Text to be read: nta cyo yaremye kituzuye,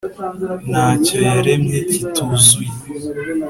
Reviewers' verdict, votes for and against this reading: accepted, 3, 0